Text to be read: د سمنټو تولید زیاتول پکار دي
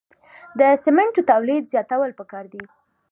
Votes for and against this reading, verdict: 2, 0, accepted